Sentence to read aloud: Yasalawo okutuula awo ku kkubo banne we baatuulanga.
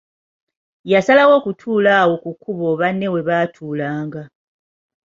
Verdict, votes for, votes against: accepted, 2, 0